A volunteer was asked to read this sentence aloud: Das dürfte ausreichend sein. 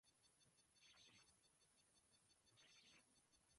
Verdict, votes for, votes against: rejected, 1, 2